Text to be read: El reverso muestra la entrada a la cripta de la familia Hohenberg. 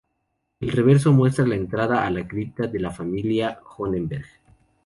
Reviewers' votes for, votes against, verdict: 0, 2, rejected